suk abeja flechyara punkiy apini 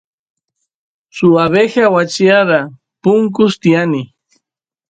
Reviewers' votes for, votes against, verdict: 1, 2, rejected